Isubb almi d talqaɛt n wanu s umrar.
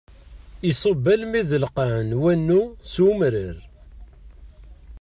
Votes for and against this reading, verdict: 0, 2, rejected